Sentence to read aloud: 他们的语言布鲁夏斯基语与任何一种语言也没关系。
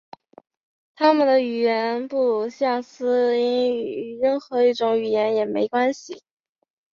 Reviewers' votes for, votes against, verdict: 0, 2, rejected